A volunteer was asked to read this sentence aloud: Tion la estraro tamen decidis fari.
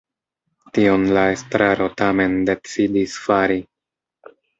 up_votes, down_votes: 2, 0